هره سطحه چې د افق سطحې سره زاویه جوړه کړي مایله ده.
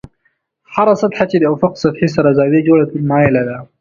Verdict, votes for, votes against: accepted, 2, 0